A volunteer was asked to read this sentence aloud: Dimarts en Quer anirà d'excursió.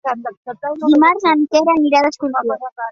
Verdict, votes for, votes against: rejected, 1, 2